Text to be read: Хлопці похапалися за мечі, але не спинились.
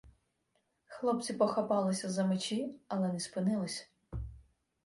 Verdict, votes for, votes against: accepted, 2, 0